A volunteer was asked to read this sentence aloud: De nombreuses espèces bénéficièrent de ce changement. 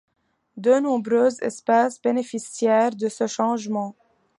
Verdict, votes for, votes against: accepted, 2, 0